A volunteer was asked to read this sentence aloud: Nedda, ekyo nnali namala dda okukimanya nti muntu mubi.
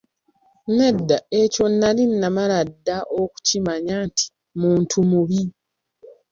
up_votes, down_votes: 2, 0